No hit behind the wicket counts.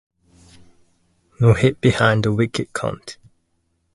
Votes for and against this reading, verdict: 0, 2, rejected